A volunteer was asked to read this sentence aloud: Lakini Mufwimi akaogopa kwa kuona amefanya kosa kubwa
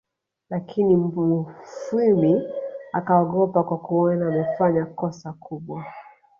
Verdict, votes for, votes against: rejected, 0, 3